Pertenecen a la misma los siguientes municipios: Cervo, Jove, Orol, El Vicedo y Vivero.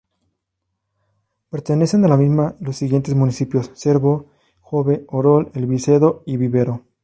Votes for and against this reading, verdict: 2, 0, accepted